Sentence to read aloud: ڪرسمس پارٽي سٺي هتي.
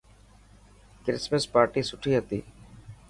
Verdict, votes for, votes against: accepted, 2, 0